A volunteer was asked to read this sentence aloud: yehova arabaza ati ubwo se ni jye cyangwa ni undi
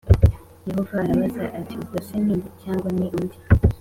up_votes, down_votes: 2, 0